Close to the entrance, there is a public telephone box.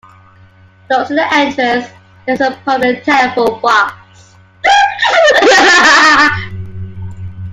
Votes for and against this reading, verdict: 2, 1, accepted